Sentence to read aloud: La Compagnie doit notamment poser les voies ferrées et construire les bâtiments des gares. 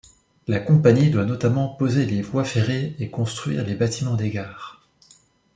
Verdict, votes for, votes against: accepted, 2, 0